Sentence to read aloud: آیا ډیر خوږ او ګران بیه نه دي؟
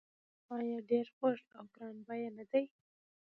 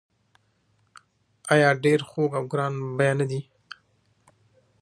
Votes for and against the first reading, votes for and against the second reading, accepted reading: 1, 2, 2, 1, second